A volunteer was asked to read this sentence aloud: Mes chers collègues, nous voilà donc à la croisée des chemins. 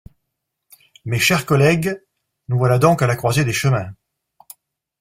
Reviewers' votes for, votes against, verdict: 2, 0, accepted